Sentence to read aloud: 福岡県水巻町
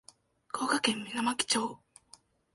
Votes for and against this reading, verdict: 2, 0, accepted